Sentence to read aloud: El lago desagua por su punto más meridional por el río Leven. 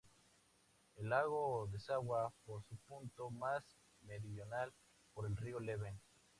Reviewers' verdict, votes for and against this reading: accepted, 2, 0